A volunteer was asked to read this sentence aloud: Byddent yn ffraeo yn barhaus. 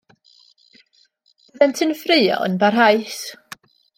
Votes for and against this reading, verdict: 1, 2, rejected